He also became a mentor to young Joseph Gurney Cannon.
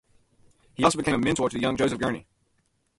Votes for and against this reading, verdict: 2, 2, rejected